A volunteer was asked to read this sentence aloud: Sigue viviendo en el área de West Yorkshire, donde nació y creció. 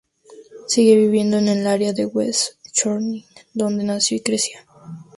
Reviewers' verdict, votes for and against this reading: rejected, 2, 2